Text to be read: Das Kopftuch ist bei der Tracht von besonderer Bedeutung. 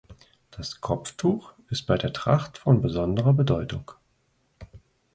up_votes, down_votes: 2, 0